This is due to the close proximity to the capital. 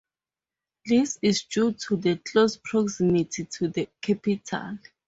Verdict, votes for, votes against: accepted, 4, 0